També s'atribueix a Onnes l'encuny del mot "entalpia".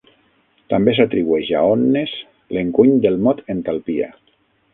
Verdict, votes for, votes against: rejected, 3, 6